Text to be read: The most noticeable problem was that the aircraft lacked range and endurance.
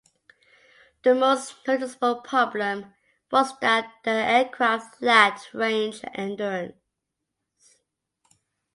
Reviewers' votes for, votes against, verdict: 2, 0, accepted